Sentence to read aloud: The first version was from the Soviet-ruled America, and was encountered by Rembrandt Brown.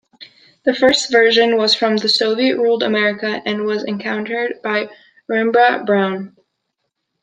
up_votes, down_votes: 1, 2